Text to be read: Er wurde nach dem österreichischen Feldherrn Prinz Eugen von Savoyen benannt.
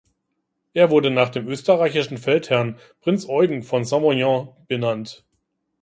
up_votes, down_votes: 0, 2